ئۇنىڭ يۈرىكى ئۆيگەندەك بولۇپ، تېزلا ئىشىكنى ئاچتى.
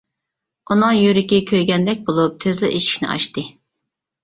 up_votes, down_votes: 0, 2